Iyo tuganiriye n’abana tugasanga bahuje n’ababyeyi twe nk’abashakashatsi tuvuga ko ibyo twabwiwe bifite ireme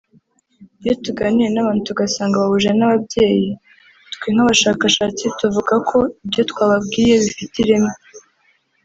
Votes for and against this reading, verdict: 2, 3, rejected